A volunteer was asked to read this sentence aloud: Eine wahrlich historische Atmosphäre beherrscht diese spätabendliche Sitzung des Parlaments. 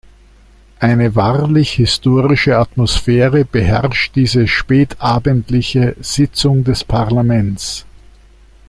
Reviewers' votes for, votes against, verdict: 2, 0, accepted